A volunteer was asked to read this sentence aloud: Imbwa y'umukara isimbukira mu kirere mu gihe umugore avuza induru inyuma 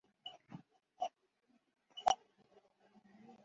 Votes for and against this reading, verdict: 0, 2, rejected